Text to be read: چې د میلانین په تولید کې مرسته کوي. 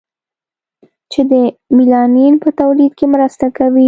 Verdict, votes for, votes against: accepted, 2, 0